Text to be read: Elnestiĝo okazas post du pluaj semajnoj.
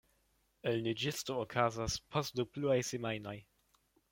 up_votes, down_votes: 1, 2